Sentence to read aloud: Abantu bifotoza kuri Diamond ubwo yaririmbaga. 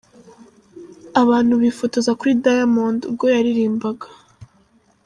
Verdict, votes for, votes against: accepted, 2, 1